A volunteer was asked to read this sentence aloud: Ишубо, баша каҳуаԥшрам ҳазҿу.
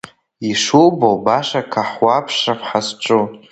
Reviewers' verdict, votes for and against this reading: rejected, 1, 2